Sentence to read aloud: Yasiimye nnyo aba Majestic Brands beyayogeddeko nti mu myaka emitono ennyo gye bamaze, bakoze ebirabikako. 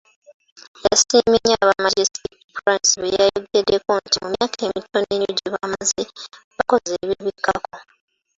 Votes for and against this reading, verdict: 1, 2, rejected